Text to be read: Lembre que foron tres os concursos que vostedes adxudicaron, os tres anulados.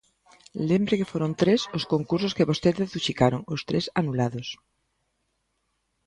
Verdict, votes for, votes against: rejected, 0, 2